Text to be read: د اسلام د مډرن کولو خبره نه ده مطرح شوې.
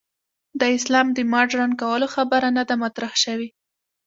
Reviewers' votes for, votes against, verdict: 2, 0, accepted